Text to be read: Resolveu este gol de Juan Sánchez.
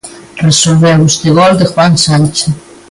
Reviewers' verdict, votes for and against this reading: accepted, 2, 0